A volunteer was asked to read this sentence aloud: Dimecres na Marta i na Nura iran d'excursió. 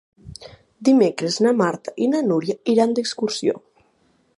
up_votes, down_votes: 4, 0